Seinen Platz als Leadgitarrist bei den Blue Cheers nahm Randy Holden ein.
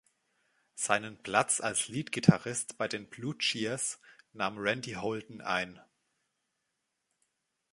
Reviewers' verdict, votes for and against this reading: accepted, 2, 0